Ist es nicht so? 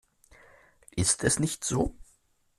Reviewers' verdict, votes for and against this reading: accepted, 2, 0